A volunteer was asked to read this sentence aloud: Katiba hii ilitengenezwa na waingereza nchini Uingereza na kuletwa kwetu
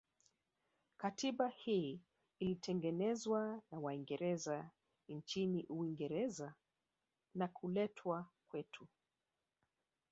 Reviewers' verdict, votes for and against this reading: rejected, 1, 2